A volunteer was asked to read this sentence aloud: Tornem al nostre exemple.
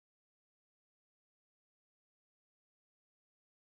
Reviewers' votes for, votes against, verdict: 0, 2, rejected